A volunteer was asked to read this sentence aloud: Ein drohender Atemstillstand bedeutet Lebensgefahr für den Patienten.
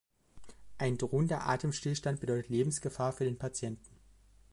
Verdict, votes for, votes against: accepted, 2, 0